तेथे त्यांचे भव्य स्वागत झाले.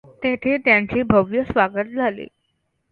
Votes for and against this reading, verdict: 2, 0, accepted